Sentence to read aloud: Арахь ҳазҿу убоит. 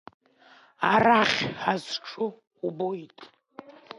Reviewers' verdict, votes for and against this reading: rejected, 0, 2